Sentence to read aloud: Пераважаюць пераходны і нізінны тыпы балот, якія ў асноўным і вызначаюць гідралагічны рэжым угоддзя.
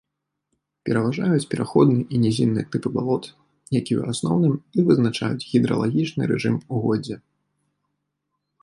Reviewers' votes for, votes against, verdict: 2, 0, accepted